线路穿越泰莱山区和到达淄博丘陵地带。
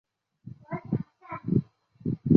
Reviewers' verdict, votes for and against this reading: rejected, 1, 2